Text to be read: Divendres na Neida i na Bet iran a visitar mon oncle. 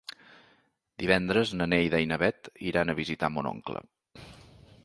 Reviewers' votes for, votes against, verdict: 3, 0, accepted